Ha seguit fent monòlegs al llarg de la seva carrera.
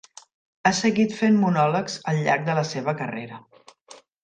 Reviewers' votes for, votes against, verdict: 3, 0, accepted